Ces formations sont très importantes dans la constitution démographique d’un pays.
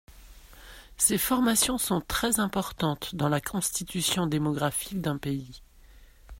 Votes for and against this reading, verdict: 2, 0, accepted